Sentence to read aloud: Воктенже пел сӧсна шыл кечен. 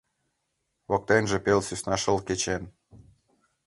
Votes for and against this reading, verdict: 2, 0, accepted